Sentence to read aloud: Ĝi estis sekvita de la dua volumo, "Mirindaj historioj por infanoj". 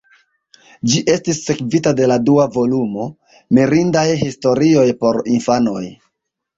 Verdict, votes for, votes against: accepted, 2, 1